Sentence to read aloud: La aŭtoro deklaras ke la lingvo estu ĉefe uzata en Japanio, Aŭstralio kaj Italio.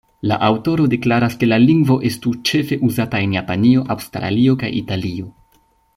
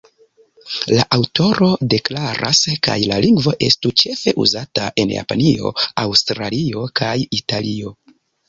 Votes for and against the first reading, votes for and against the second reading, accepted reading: 2, 0, 1, 2, first